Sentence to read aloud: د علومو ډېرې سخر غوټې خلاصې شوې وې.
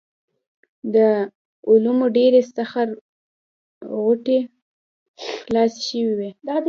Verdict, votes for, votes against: rejected, 1, 2